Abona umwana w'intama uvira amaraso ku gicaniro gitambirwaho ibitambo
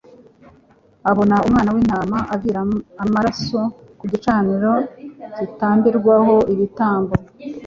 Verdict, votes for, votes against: accepted, 2, 0